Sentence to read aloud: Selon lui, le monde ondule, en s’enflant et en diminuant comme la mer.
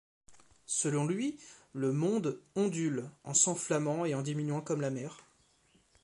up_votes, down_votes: 0, 2